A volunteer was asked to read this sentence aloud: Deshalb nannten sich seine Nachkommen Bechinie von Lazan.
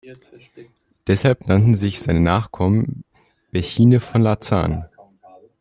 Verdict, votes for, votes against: rejected, 1, 2